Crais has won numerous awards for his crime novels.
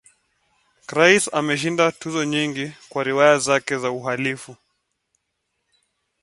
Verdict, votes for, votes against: rejected, 0, 2